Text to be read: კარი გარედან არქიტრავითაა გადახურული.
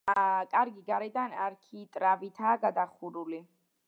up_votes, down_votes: 2, 0